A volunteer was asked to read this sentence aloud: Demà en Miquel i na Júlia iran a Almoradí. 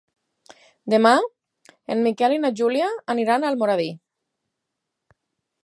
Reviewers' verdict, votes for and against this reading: rejected, 2, 4